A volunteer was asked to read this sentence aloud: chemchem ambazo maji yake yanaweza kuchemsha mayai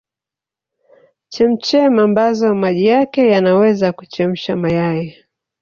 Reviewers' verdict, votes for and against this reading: rejected, 1, 2